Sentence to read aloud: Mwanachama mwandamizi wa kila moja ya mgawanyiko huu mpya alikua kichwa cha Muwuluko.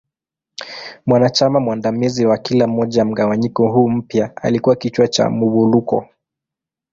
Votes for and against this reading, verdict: 2, 0, accepted